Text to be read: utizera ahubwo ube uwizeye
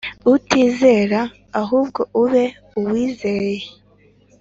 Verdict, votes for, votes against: accepted, 3, 0